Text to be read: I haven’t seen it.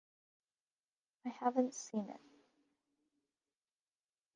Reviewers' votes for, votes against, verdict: 1, 2, rejected